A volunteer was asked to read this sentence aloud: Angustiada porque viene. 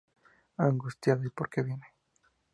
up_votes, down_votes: 0, 4